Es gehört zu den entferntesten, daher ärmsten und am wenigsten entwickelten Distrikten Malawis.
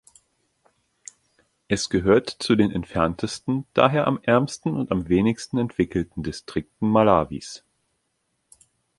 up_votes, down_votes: 2, 0